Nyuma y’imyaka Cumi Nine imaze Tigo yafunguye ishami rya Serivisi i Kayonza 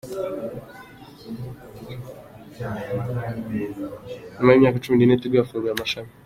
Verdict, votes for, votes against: rejected, 0, 2